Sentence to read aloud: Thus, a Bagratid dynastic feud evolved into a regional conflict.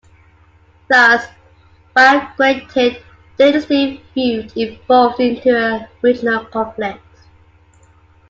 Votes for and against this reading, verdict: 2, 0, accepted